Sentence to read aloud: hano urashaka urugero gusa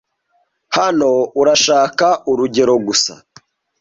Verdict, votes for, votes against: accepted, 2, 0